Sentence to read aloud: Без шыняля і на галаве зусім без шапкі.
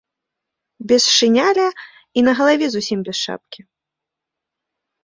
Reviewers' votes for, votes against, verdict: 0, 2, rejected